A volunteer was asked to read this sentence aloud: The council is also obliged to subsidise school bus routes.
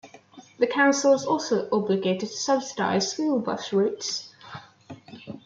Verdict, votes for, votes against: rejected, 1, 2